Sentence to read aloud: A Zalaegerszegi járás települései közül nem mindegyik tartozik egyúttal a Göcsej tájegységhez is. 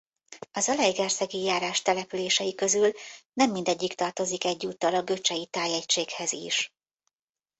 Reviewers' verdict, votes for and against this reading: rejected, 1, 2